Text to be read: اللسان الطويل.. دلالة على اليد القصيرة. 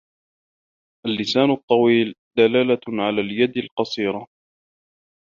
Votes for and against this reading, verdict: 2, 1, accepted